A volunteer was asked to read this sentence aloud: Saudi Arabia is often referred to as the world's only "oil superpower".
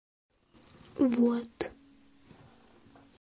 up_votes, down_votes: 0, 2